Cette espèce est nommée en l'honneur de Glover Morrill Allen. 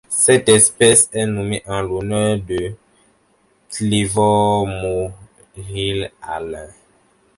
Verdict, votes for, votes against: rejected, 0, 2